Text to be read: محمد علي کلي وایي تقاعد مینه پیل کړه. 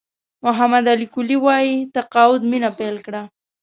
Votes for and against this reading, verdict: 2, 0, accepted